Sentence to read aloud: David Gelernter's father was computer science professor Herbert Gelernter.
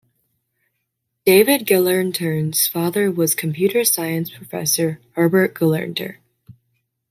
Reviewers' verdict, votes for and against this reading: accepted, 2, 0